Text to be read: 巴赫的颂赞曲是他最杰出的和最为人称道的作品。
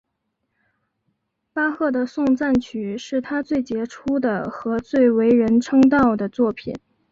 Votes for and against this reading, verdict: 3, 0, accepted